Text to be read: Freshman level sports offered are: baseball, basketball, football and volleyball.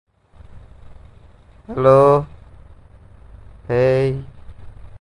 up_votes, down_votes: 0, 2